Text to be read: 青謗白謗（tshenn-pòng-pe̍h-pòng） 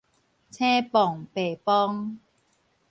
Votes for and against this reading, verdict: 2, 2, rejected